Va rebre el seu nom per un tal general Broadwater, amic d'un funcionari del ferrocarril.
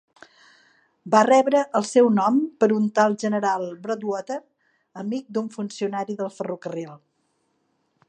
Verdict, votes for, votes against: accepted, 2, 0